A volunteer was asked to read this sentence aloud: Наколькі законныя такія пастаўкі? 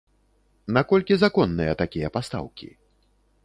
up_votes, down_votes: 2, 0